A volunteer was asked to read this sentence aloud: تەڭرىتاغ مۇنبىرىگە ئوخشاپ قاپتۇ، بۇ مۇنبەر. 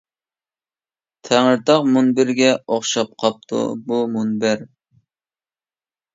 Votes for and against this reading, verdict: 2, 0, accepted